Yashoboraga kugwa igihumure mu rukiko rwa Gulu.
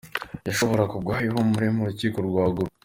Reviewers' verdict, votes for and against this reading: accepted, 2, 1